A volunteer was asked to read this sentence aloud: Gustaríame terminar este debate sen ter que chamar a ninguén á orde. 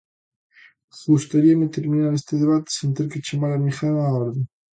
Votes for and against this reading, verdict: 2, 0, accepted